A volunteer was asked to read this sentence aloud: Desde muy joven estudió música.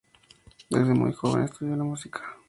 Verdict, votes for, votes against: rejected, 0, 2